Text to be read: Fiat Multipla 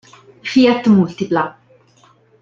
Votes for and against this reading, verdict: 2, 0, accepted